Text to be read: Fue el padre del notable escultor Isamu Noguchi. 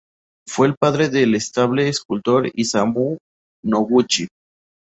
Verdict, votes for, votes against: rejected, 0, 2